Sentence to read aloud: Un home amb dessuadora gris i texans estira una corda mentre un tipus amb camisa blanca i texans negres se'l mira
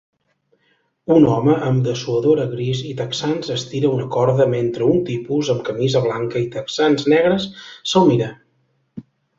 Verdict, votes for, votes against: accepted, 3, 0